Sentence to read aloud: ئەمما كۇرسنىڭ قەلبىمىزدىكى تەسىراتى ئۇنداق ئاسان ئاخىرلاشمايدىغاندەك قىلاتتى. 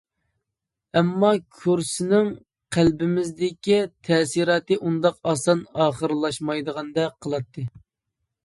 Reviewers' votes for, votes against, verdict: 2, 0, accepted